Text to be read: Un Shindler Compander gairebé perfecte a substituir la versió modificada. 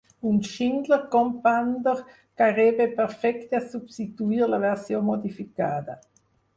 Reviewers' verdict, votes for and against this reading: rejected, 2, 4